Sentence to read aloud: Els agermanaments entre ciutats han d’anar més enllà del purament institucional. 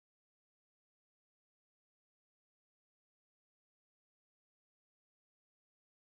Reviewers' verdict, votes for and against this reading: rejected, 0, 2